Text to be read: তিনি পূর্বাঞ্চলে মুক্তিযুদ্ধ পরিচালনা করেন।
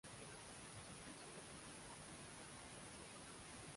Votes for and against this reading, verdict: 0, 2, rejected